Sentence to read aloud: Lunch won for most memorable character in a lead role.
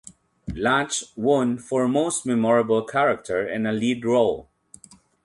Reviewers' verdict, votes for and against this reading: rejected, 0, 2